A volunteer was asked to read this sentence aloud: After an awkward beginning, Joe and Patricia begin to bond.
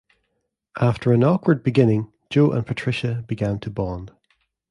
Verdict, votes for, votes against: rejected, 1, 2